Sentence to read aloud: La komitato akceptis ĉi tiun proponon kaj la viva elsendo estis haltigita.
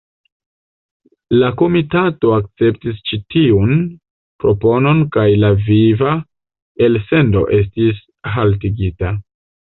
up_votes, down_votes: 2, 0